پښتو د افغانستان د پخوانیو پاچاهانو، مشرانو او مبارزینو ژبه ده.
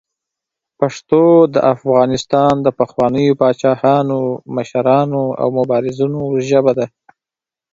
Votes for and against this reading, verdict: 2, 0, accepted